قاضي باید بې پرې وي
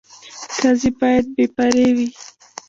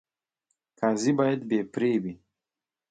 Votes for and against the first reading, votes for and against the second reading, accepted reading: 2, 2, 2, 0, second